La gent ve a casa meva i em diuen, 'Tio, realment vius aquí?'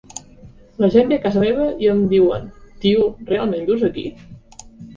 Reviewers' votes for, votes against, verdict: 2, 0, accepted